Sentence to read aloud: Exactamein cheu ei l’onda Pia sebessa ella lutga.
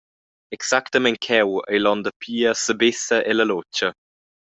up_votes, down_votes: 2, 0